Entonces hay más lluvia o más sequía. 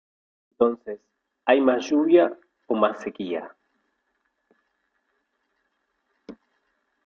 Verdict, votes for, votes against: rejected, 2, 3